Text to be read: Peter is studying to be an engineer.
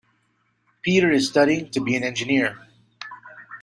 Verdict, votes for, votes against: accepted, 2, 0